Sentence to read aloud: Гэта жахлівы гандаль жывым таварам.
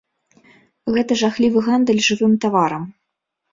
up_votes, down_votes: 4, 0